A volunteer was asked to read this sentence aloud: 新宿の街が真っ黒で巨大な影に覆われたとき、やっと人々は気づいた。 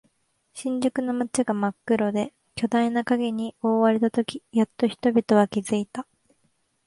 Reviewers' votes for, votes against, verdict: 2, 0, accepted